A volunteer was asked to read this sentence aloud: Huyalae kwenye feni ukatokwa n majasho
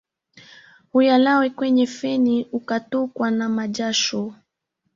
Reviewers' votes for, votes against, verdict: 2, 0, accepted